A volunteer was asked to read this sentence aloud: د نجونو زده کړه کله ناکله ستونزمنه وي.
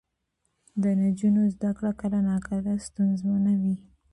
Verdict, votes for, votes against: accepted, 2, 0